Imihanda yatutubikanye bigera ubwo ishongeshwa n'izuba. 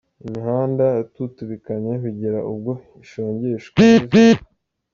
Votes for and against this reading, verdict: 2, 0, accepted